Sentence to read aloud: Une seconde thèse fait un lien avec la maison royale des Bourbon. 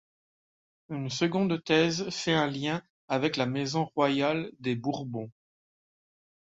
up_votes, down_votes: 2, 0